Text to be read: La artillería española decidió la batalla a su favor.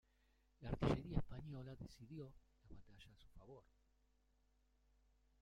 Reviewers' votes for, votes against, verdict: 0, 2, rejected